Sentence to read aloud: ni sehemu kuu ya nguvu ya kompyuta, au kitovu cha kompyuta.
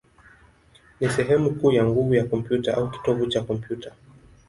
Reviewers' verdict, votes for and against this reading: rejected, 1, 2